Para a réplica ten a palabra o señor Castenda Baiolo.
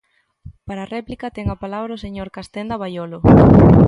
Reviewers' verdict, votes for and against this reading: accepted, 2, 0